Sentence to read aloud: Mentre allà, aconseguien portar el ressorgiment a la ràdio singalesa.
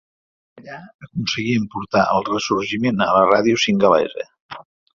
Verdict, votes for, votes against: rejected, 1, 2